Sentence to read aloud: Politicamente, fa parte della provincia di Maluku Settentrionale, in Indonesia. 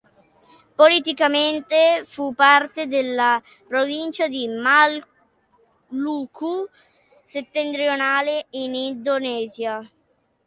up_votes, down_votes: 0, 2